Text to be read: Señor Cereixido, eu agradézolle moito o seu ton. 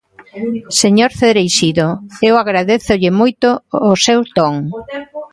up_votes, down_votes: 1, 2